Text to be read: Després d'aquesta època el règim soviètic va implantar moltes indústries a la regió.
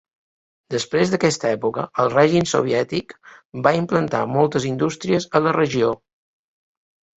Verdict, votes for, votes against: accepted, 2, 0